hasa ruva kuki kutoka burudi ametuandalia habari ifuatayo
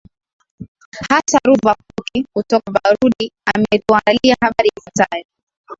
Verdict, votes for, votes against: rejected, 1, 3